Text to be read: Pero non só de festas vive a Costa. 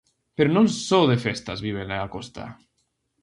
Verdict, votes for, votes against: rejected, 0, 2